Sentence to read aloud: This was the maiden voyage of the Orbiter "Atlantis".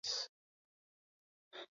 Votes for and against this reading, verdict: 0, 2, rejected